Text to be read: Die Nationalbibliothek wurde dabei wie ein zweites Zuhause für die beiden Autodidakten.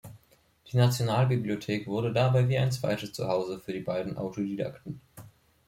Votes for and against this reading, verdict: 1, 2, rejected